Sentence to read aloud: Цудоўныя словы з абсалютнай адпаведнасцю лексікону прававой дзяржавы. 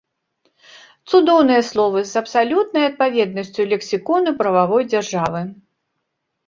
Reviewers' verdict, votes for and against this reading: accepted, 2, 0